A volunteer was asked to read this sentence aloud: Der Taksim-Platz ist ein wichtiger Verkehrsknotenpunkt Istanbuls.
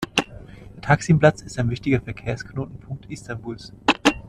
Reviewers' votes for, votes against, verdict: 1, 2, rejected